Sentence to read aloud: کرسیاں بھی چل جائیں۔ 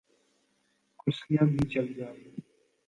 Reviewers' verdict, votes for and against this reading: accepted, 2, 0